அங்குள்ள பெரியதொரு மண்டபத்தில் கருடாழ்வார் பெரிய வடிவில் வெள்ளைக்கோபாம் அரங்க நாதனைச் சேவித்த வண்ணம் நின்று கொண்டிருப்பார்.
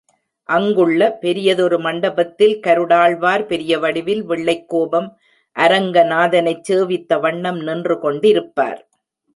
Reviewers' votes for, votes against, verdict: 2, 1, accepted